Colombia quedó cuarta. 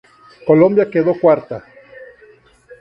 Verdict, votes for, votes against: accepted, 2, 0